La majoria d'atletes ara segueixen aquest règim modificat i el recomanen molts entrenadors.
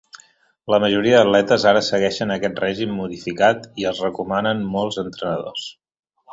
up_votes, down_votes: 0, 2